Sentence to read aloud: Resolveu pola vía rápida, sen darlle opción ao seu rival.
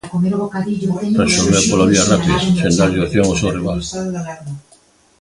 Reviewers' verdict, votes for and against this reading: rejected, 0, 2